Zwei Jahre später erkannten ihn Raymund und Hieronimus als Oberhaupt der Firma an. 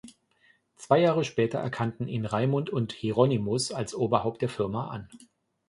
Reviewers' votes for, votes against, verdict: 2, 0, accepted